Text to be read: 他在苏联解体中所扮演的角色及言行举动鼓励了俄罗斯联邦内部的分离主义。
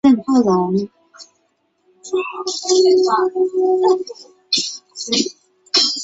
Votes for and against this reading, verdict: 0, 2, rejected